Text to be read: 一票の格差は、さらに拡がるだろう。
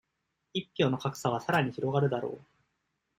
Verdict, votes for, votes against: accepted, 2, 0